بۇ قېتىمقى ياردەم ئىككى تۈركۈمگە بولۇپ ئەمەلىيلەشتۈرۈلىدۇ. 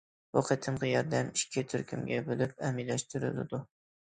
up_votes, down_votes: 2, 1